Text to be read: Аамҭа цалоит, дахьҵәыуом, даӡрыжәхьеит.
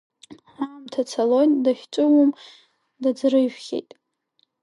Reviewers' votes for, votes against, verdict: 2, 1, accepted